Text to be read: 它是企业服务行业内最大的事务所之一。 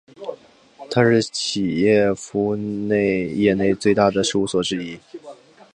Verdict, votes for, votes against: rejected, 0, 3